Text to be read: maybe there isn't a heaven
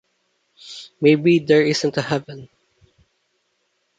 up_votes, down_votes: 2, 0